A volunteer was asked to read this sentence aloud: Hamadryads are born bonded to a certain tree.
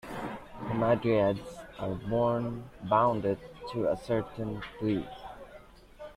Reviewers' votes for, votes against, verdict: 0, 2, rejected